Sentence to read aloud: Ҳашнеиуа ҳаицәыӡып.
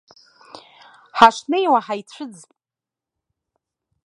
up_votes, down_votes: 1, 2